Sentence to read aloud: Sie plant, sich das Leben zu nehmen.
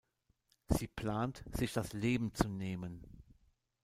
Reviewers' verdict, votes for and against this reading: rejected, 1, 2